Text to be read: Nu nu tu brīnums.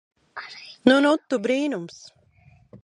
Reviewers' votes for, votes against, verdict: 0, 2, rejected